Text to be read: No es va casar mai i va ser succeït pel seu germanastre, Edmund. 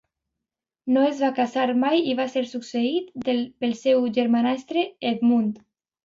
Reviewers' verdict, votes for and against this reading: rejected, 0, 2